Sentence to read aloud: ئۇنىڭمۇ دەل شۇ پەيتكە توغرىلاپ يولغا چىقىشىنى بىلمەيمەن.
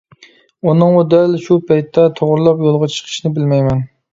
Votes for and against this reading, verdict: 1, 2, rejected